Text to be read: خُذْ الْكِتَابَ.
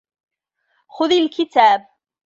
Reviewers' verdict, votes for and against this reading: accepted, 2, 1